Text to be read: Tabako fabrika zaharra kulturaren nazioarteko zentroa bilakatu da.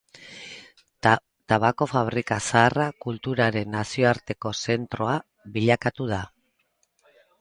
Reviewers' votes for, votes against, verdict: 0, 2, rejected